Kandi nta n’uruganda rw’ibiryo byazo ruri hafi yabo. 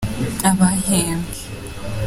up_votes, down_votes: 0, 3